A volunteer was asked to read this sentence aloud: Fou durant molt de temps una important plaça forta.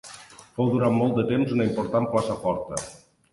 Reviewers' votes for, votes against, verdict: 3, 0, accepted